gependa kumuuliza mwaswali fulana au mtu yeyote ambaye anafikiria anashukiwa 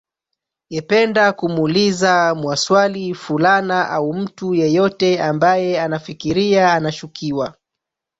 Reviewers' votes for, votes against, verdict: 0, 2, rejected